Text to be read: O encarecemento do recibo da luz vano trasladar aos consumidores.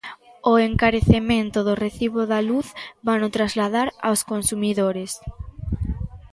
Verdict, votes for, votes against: accepted, 2, 0